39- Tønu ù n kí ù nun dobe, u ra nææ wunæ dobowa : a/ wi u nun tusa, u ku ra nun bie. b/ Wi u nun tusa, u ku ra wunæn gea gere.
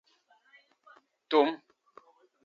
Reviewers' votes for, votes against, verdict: 0, 2, rejected